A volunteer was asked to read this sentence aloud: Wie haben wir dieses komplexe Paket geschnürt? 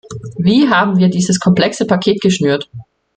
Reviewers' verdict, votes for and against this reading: accepted, 2, 0